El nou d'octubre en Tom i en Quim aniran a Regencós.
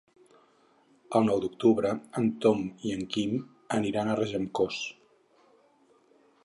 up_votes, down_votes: 6, 0